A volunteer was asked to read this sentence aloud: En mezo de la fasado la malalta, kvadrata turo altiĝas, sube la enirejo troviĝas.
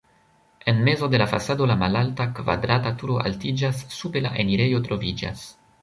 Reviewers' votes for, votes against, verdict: 2, 1, accepted